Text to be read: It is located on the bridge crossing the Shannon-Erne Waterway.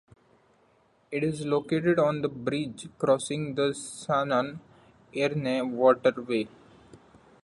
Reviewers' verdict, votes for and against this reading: rejected, 0, 2